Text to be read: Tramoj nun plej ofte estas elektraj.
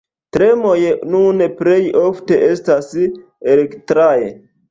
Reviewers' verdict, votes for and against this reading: rejected, 1, 2